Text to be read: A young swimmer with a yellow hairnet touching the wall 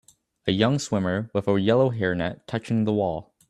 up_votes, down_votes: 2, 0